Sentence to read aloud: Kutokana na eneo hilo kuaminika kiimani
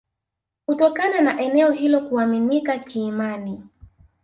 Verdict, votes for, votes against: rejected, 1, 2